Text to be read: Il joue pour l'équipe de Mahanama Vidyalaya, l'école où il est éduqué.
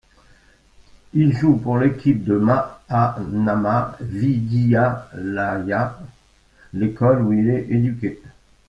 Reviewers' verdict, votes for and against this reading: rejected, 1, 2